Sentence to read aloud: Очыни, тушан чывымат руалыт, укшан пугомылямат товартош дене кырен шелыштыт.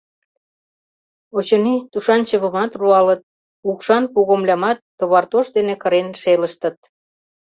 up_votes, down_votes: 2, 0